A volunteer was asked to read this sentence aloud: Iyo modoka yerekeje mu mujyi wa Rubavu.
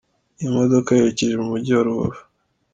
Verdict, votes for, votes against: accepted, 2, 0